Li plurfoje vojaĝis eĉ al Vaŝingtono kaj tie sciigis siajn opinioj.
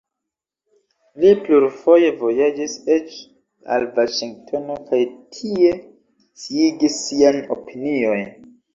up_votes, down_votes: 1, 2